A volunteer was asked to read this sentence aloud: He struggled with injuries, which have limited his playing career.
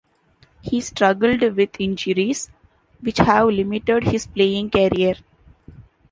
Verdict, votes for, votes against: accepted, 2, 0